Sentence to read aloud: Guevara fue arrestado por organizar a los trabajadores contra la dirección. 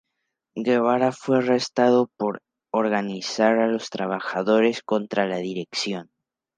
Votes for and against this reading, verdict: 2, 0, accepted